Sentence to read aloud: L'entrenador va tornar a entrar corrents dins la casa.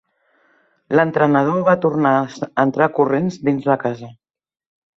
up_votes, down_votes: 1, 2